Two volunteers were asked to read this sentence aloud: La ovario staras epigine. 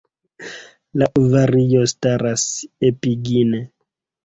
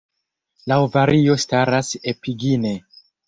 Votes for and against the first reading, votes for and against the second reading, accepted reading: 2, 0, 1, 2, first